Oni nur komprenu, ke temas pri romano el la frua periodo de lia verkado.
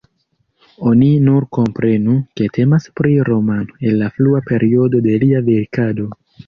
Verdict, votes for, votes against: rejected, 1, 2